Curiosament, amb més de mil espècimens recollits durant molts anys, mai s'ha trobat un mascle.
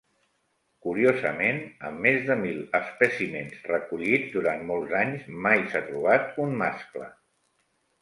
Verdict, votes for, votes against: accepted, 3, 0